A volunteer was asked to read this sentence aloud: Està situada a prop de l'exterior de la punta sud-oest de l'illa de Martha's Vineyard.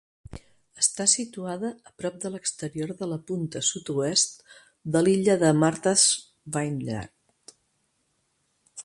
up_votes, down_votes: 2, 1